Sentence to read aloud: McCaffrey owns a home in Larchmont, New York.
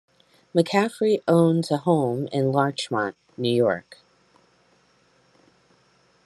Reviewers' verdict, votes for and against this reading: accepted, 2, 0